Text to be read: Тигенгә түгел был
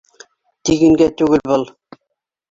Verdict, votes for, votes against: accepted, 2, 1